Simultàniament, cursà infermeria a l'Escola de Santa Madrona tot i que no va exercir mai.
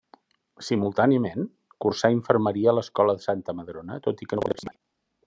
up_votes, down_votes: 0, 2